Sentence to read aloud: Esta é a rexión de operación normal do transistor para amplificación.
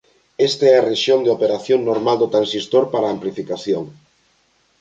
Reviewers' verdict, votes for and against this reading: accepted, 2, 0